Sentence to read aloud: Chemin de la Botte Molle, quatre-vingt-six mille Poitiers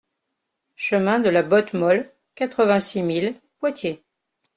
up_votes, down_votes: 2, 0